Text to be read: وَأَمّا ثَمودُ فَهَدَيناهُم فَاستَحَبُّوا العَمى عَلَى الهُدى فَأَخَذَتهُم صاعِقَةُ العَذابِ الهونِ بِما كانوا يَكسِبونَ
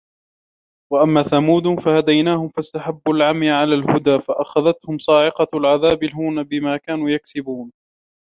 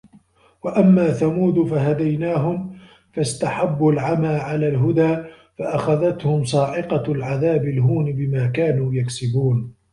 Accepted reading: second